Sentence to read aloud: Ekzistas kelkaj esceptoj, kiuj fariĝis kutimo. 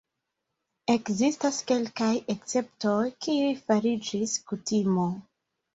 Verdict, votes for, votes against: rejected, 1, 2